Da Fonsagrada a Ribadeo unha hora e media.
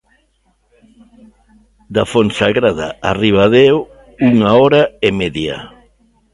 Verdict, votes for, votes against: accepted, 3, 0